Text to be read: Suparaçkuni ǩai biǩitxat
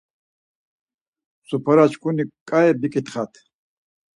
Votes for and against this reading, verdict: 4, 0, accepted